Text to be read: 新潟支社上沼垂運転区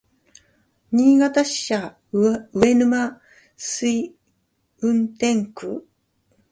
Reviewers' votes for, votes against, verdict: 2, 0, accepted